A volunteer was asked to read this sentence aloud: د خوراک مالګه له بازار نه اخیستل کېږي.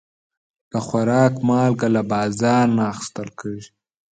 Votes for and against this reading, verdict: 2, 0, accepted